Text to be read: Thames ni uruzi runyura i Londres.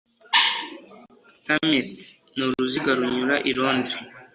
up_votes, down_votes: 2, 0